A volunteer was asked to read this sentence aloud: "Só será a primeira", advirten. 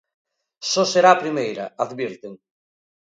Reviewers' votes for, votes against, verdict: 2, 0, accepted